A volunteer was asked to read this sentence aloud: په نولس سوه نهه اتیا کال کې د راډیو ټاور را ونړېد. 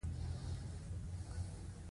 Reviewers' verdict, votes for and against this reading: rejected, 1, 2